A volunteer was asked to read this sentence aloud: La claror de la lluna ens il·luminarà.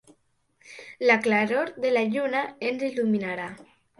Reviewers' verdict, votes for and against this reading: accepted, 3, 0